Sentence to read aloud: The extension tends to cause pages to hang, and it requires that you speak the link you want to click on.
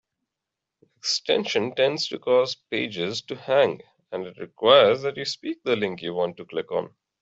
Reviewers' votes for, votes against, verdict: 1, 2, rejected